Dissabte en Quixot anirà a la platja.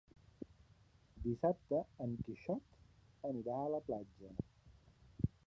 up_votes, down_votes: 0, 2